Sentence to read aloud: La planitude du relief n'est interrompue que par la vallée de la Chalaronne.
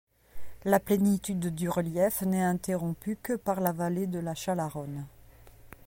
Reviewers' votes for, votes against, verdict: 2, 0, accepted